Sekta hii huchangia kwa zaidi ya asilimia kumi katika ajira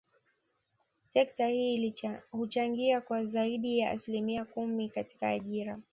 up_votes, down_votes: 1, 2